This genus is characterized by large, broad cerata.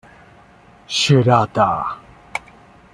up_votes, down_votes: 0, 2